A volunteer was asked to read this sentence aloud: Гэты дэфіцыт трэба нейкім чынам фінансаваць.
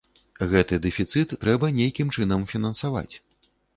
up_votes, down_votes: 2, 0